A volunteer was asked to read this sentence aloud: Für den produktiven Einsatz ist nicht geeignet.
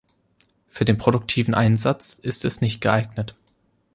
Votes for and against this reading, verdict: 0, 3, rejected